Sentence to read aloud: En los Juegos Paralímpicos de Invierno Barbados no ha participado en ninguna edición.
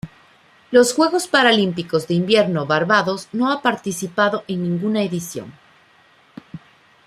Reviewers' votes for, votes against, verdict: 0, 2, rejected